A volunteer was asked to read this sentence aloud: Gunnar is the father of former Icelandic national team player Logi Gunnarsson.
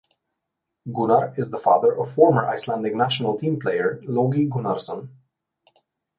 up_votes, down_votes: 2, 0